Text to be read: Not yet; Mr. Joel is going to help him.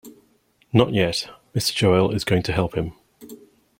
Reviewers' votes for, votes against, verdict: 2, 0, accepted